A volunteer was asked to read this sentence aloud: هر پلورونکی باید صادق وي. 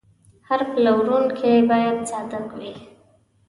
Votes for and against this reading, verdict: 2, 0, accepted